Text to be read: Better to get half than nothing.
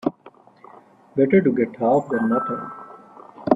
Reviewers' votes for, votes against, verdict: 3, 0, accepted